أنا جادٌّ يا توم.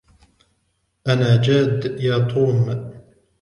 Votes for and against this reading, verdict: 1, 2, rejected